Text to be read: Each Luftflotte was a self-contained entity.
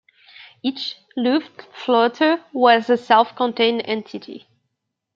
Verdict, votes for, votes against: rejected, 1, 2